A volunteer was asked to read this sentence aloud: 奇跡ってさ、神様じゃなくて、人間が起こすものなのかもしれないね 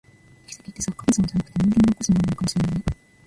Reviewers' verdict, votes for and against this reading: rejected, 1, 2